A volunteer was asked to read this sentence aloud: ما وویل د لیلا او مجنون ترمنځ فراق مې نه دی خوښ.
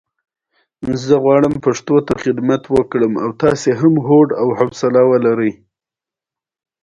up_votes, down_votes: 1, 2